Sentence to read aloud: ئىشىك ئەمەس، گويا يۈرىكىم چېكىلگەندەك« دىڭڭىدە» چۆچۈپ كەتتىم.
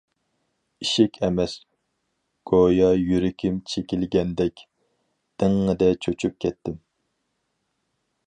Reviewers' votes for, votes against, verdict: 4, 0, accepted